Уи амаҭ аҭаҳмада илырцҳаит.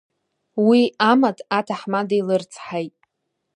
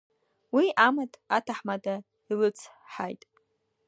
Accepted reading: first